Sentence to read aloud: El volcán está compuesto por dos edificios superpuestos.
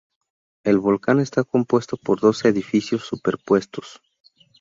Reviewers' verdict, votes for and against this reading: accepted, 2, 0